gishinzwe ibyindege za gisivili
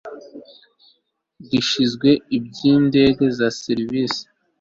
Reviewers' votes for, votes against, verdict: 0, 2, rejected